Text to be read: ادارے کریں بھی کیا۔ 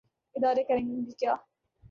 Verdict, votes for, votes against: rejected, 1, 2